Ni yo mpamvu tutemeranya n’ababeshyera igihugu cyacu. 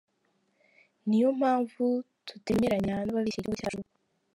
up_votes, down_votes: 1, 2